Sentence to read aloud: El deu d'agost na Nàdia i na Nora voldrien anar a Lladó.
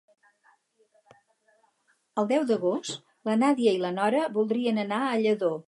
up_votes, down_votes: 2, 2